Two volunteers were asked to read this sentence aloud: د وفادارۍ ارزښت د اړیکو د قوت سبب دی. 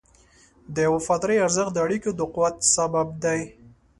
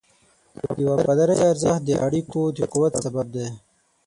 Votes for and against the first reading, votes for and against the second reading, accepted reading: 3, 0, 0, 6, first